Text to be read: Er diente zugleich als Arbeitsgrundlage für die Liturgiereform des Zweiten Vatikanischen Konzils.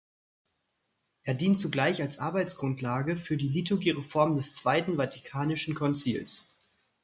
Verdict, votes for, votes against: rejected, 1, 2